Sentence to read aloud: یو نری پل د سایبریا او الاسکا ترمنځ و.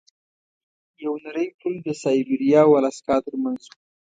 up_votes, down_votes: 1, 2